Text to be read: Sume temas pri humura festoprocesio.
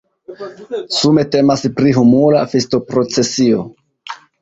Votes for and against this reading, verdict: 0, 2, rejected